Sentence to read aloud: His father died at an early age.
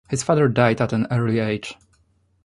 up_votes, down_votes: 2, 0